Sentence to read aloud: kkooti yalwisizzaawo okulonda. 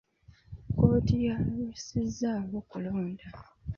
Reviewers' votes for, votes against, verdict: 1, 2, rejected